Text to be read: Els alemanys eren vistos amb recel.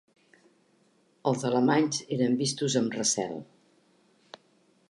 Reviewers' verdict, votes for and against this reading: accepted, 3, 0